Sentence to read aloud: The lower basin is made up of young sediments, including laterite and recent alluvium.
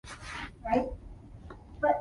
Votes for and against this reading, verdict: 0, 2, rejected